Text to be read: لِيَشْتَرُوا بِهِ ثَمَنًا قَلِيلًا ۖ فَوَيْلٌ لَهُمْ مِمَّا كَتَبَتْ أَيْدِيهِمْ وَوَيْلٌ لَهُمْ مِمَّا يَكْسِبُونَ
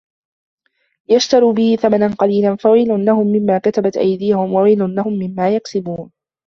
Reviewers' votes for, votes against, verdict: 2, 1, accepted